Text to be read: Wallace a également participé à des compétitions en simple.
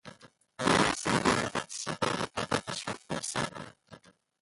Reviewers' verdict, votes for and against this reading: rejected, 0, 2